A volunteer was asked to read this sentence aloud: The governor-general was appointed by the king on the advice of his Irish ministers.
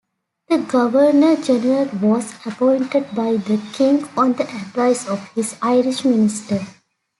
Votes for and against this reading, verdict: 1, 2, rejected